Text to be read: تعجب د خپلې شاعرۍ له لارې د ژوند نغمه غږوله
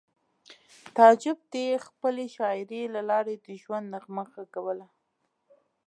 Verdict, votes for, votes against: rejected, 1, 2